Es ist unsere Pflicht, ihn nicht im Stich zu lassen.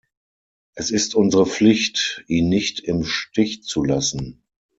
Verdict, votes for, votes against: accepted, 6, 0